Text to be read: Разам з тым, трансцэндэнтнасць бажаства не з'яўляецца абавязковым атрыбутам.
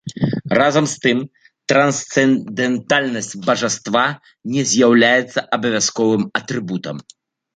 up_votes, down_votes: 0, 2